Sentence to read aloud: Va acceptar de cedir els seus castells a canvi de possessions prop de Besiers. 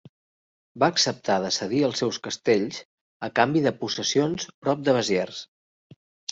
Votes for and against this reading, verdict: 3, 0, accepted